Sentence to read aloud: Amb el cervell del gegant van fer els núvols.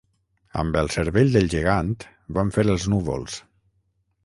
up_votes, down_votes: 0, 3